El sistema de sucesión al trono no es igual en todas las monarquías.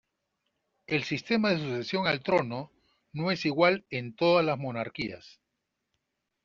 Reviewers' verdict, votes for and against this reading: accepted, 2, 0